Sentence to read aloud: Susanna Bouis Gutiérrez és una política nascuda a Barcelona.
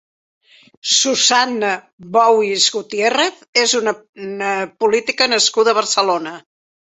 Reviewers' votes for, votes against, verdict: 0, 2, rejected